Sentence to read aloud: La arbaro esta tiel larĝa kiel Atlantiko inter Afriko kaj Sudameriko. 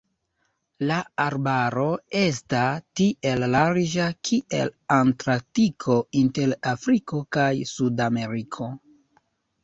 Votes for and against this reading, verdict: 2, 0, accepted